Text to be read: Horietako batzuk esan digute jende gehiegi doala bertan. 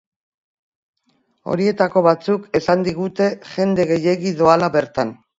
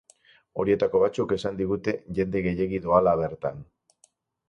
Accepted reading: first